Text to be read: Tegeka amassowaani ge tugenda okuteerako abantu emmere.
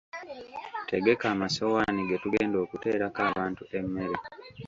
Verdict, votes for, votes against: accepted, 2, 1